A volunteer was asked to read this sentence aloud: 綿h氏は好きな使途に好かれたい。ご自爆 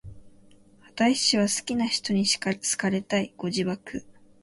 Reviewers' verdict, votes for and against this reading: rejected, 1, 4